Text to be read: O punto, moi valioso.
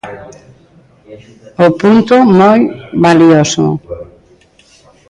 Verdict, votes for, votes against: accepted, 2, 0